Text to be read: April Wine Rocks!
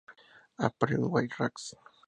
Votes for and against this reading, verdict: 0, 2, rejected